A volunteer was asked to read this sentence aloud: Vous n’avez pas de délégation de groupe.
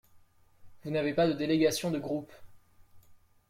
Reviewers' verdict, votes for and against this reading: accepted, 2, 0